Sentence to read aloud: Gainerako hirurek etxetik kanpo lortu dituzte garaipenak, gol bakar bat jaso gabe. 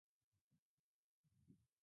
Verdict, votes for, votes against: rejected, 0, 2